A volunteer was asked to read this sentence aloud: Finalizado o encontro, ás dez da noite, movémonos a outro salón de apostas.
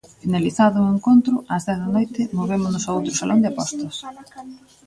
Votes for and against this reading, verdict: 0, 2, rejected